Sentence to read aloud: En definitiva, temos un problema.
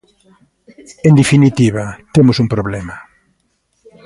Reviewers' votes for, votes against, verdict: 2, 0, accepted